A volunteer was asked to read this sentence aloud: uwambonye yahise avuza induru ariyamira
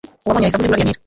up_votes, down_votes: 0, 2